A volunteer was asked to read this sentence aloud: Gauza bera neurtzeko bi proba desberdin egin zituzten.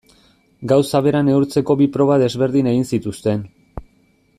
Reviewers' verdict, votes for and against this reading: accepted, 2, 0